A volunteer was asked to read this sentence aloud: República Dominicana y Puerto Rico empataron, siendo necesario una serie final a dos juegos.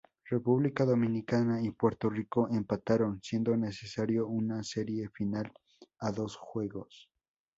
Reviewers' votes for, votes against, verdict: 4, 0, accepted